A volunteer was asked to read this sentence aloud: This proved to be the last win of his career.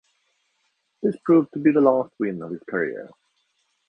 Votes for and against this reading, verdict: 2, 1, accepted